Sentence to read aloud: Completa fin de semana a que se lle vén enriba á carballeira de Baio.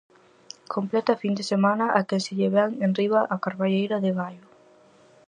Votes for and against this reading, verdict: 4, 0, accepted